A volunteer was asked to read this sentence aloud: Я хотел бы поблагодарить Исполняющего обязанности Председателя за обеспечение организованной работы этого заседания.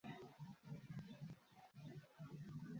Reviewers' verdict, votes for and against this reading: rejected, 0, 2